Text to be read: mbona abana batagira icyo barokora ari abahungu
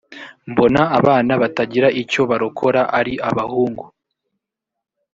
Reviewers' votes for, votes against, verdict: 3, 0, accepted